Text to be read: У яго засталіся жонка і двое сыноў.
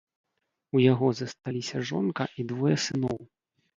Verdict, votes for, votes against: accepted, 2, 0